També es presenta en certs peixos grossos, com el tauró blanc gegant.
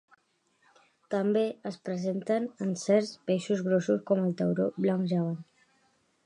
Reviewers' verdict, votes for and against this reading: accepted, 2, 0